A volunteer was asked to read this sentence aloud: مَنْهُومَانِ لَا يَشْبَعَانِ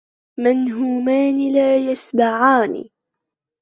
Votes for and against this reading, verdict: 2, 0, accepted